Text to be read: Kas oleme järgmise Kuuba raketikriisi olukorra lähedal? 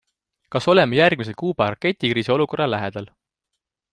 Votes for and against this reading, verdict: 2, 0, accepted